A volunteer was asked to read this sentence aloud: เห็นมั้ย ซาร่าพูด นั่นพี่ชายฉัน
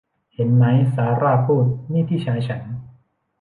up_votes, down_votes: 0, 2